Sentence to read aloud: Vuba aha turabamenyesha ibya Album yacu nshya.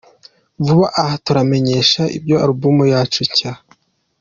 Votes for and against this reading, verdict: 2, 1, accepted